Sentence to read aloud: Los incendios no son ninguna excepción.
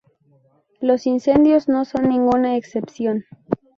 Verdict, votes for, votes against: accepted, 2, 0